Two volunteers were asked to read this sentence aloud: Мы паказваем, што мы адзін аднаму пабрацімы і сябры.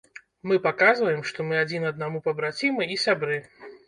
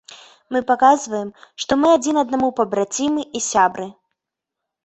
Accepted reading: second